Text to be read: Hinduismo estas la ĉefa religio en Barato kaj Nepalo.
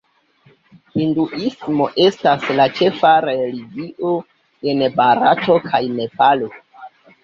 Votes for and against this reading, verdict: 2, 1, accepted